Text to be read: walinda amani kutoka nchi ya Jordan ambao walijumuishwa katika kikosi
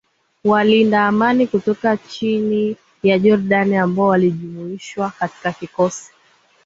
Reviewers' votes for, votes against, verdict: 1, 2, rejected